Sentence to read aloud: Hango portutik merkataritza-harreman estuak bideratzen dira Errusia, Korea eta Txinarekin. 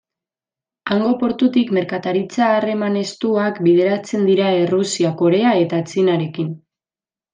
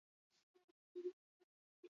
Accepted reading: first